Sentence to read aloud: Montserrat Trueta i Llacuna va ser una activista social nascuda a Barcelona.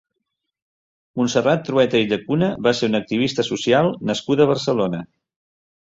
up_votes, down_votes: 2, 0